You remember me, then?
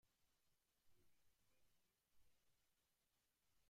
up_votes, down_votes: 0, 2